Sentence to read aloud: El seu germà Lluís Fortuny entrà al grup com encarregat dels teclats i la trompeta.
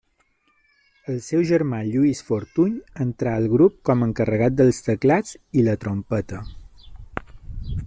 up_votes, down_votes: 5, 0